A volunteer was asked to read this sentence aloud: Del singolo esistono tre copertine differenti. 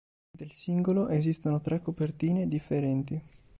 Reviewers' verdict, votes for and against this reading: accepted, 4, 0